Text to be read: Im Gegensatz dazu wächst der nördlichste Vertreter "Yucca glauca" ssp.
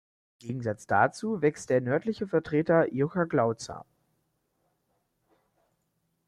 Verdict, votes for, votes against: rejected, 0, 2